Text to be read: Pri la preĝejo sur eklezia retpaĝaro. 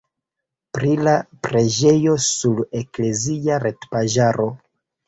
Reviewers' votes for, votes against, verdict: 1, 2, rejected